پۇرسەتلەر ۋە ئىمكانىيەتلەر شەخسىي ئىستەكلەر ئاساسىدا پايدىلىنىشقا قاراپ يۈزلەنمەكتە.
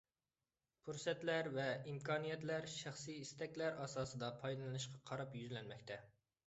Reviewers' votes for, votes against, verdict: 2, 0, accepted